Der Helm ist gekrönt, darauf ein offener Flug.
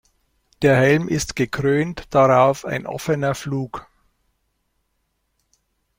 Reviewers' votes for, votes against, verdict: 2, 0, accepted